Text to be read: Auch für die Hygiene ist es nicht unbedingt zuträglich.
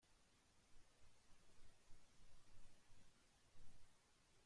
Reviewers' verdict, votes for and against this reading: rejected, 0, 2